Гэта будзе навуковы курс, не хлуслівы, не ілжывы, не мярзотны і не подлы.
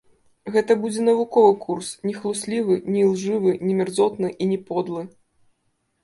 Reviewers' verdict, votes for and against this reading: accepted, 2, 1